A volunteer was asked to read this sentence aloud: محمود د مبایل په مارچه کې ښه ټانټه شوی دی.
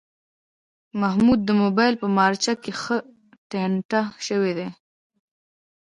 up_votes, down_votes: 2, 3